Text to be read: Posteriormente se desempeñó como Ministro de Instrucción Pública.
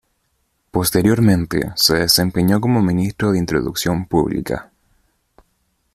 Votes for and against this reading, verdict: 0, 2, rejected